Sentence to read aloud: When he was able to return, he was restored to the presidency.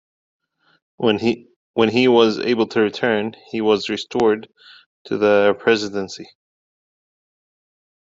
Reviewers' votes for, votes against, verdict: 1, 2, rejected